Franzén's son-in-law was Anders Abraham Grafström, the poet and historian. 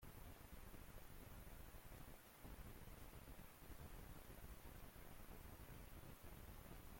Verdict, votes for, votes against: rejected, 0, 2